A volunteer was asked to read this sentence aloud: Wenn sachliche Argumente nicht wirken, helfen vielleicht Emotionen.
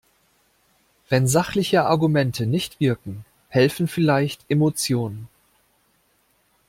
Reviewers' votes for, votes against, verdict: 2, 0, accepted